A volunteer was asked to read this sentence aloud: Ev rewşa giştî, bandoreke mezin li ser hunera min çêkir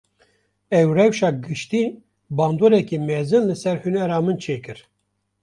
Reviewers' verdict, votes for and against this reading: accepted, 2, 0